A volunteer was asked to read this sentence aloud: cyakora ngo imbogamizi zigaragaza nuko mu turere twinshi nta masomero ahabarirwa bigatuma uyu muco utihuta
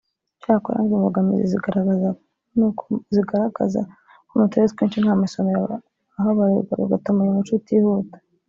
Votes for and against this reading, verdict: 1, 2, rejected